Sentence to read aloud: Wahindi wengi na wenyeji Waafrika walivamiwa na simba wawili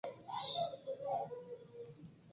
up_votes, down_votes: 1, 2